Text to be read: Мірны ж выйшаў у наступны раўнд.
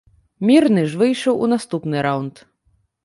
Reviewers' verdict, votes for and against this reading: accepted, 2, 0